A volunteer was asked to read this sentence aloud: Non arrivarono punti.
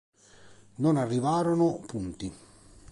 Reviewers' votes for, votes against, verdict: 2, 0, accepted